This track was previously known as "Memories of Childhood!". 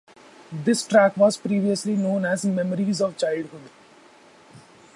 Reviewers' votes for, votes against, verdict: 2, 0, accepted